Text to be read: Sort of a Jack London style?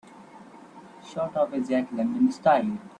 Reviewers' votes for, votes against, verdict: 1, 2, rejected